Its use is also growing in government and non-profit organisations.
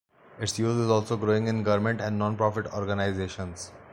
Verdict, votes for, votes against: rejected, 1, 2